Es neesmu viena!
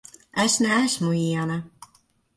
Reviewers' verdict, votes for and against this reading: rejected, 1, 2